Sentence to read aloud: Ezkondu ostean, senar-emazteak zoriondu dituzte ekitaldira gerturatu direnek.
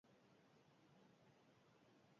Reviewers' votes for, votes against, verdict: 0, 10, rejected